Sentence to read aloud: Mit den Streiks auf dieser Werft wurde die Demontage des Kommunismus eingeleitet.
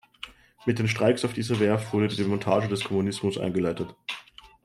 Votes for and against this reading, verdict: 2, 0, accepted